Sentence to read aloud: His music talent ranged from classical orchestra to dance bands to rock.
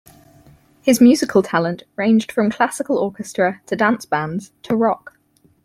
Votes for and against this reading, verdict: 2, 4, rejected